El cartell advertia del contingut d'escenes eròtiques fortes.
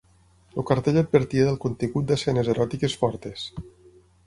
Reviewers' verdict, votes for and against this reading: rejected, 0, 6